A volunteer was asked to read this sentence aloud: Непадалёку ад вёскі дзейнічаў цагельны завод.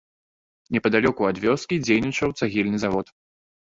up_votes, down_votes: 2, 0